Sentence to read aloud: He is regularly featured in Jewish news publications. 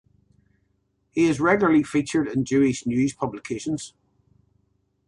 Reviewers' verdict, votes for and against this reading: accepted, 2, 0